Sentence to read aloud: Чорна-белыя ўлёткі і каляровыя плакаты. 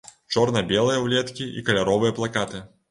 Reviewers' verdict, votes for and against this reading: rejected, 0, 3